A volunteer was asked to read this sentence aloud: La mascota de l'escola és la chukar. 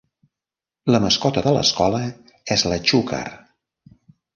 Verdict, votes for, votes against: rejected, 0, 2